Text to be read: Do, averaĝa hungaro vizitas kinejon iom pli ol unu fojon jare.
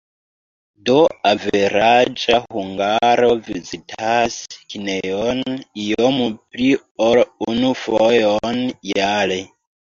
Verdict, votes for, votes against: rejected, 0, 3